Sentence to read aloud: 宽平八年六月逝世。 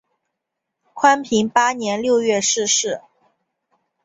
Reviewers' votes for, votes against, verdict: 12, 0, accepted